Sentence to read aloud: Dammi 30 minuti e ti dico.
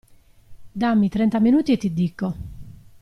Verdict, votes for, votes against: rejected, 0, 2